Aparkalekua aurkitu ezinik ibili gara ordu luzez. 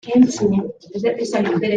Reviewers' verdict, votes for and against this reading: rejected, 0, 2